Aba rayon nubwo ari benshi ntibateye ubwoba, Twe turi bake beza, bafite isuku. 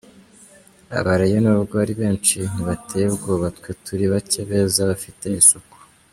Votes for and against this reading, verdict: 2, 0, accepted